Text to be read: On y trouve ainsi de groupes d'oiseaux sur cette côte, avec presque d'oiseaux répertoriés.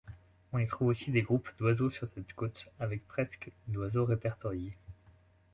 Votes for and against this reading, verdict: 1, 2, rejected